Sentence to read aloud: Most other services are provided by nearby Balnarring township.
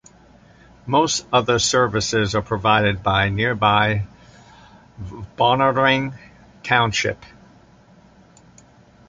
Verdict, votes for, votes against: accepted, 2, 0